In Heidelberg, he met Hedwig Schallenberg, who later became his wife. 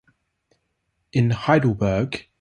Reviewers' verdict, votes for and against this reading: rejected, 0, 2